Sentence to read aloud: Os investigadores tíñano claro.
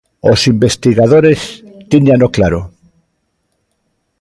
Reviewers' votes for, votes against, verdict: 2, 0, accepted